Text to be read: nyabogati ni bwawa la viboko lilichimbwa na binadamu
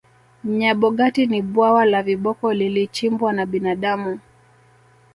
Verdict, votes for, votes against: accepted, 5, 0